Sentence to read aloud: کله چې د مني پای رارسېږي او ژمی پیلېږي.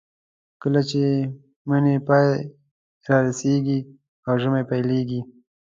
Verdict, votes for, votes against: accepted, 2, 1